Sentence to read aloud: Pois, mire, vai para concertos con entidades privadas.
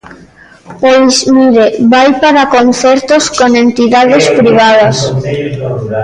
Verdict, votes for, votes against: rejected, 0, 2